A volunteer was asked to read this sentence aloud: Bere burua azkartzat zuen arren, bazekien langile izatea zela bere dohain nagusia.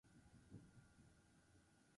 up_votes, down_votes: 0, 10